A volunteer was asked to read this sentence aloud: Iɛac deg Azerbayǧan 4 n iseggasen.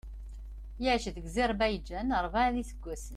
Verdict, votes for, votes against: rejected, 0, 2